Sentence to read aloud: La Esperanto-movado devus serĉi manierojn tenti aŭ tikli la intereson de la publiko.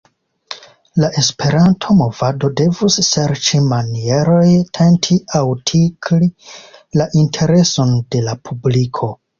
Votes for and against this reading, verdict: 1, 2, rejected